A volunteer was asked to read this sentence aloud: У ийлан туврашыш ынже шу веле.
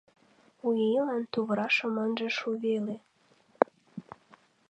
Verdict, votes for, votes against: rejected, 1, 2